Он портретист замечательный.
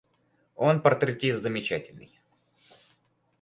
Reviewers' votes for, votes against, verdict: 4, 0, accepted